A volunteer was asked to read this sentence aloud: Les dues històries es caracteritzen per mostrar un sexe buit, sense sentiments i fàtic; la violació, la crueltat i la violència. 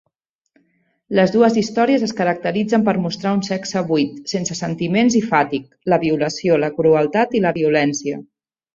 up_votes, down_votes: 2, 0